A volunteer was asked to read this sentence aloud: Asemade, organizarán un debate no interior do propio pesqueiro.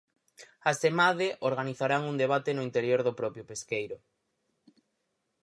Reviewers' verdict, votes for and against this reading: accepted, 4, 0